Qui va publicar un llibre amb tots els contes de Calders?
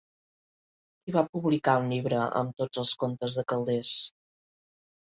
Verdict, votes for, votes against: rejected, 0, 2